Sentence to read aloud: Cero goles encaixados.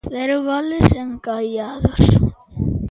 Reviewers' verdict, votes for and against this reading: rejected, 0, 2